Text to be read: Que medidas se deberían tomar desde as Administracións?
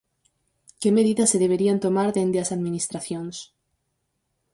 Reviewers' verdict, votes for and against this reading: rejected, 0, 4